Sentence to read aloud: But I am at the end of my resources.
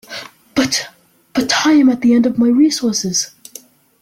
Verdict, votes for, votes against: rejected, 1, 2